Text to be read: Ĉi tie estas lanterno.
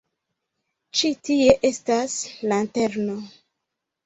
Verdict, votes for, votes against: accepted, 2, 1